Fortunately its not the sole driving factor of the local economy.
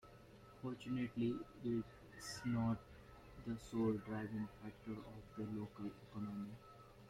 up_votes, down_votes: 0, 2